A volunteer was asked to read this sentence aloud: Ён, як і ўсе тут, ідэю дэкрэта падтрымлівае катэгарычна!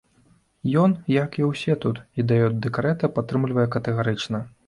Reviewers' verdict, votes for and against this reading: accepted, 2, 1